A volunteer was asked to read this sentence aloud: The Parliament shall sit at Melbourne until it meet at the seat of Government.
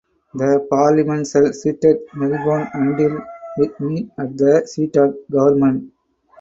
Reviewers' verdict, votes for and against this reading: rejected, 2, 4